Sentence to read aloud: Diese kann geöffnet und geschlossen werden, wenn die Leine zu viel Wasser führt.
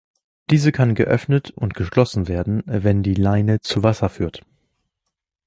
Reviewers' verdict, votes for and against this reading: rejected, 0, 2